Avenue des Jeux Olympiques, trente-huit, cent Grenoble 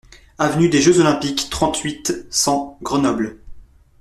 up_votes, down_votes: 2, 0